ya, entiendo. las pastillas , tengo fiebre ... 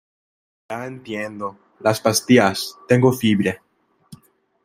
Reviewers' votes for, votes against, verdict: 1, 2, rejected